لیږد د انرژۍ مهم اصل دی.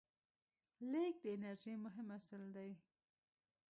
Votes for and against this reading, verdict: 1, 2, rejected